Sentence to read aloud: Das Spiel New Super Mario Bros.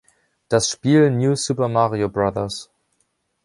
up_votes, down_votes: 1, 2